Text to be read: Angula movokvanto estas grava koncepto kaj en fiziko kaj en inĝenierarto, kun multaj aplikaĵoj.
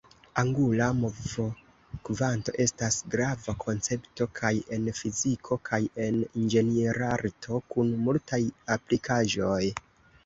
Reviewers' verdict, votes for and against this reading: accepted, 2, 0